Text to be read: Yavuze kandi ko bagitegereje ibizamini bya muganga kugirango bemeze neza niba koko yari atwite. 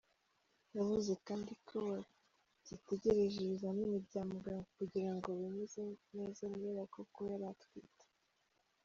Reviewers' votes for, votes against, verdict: 0, 2, rejected